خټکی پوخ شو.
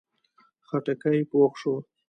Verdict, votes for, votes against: accepted, 2, 1